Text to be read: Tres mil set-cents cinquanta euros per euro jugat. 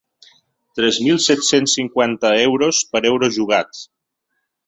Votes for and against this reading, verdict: 1, 2, rejected